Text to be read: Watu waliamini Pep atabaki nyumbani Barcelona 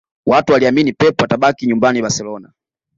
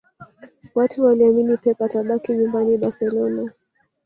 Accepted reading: first